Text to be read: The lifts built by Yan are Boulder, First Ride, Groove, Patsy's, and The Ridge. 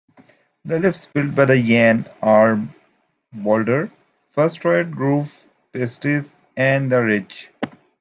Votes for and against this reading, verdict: 1, 3, rejected